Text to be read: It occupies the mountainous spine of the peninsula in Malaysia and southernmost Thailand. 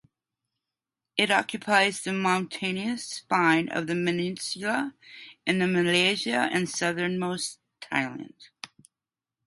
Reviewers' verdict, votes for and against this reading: rejected, 0, 2